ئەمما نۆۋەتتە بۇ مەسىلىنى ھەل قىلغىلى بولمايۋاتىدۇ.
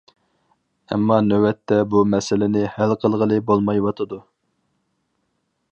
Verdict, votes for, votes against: accepted, 4, 0